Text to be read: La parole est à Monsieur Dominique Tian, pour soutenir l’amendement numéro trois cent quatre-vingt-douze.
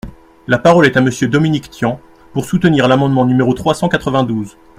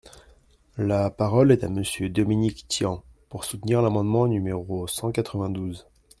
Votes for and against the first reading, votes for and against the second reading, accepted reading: 2, 0, 0, 2, first